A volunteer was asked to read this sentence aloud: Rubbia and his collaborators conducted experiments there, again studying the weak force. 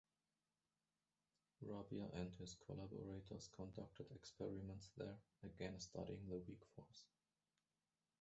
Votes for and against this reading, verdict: 1, 2, rejected